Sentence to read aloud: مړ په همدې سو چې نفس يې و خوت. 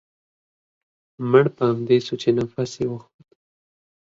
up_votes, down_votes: 2, 0